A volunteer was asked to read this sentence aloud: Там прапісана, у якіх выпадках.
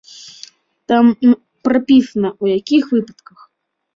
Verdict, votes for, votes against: accepted, 2, 0